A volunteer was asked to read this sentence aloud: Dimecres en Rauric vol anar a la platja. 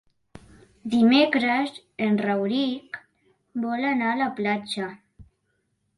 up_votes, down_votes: 2, 0